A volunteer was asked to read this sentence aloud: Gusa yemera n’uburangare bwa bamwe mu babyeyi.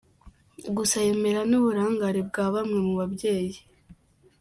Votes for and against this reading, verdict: 2, 0, accepted